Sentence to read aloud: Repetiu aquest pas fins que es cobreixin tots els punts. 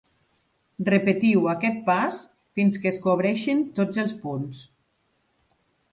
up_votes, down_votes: 2, 0